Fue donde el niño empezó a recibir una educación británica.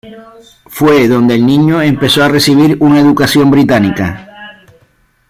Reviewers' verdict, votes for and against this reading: accepted, 2, 0